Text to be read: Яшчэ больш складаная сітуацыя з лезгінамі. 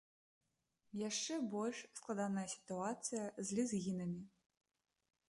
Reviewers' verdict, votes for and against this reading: accepted, 2, 0